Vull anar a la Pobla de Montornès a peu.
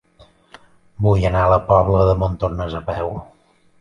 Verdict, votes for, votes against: accepted, 3, 0